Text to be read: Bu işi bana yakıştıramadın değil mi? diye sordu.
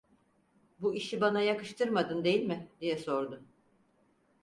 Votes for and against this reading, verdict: 2, 4, rejected